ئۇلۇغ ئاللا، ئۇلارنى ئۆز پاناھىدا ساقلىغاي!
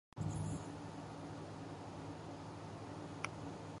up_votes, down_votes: 0, 2